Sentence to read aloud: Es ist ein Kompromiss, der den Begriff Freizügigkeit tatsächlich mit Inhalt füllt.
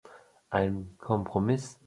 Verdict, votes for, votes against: rejected, 0, 2